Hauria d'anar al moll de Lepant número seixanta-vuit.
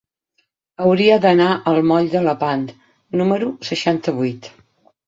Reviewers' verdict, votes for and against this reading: accepted, 9, 0